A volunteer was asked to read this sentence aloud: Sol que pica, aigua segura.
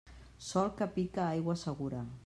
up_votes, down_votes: 3, 0